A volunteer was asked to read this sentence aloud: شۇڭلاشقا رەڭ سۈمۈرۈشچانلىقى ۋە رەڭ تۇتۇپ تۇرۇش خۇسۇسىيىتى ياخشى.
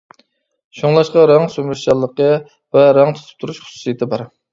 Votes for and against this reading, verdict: 1, 2, rejected